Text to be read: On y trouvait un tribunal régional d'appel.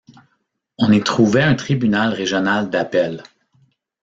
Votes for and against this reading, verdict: 0, 2, rejected